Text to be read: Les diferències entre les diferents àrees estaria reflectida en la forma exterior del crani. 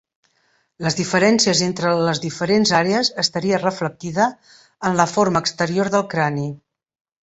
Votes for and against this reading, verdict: 3, 0, accepted